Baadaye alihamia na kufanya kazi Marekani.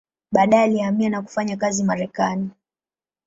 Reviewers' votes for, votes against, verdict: 4, 0, accepted